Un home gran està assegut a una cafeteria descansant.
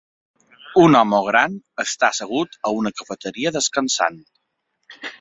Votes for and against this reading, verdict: 0, 2, rejected